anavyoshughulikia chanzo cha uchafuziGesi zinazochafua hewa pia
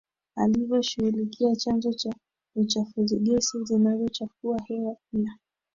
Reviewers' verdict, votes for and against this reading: rejected, 1, 3